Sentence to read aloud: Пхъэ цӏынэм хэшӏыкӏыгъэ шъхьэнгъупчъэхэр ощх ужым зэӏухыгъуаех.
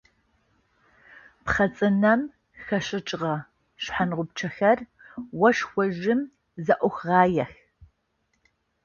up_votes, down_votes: 0, 2